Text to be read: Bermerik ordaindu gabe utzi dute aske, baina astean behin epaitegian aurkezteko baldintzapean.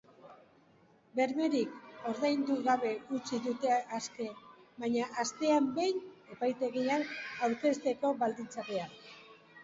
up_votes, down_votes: 6, 2